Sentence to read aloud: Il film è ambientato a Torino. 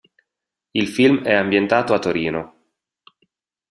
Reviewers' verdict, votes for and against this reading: accepted, 2, 0